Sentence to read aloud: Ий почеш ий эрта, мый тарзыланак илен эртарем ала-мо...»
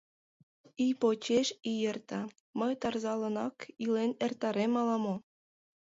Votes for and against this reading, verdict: 1, 4, rejected